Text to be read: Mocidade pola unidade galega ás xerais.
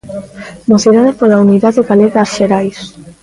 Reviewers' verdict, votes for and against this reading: accepted, 2, 0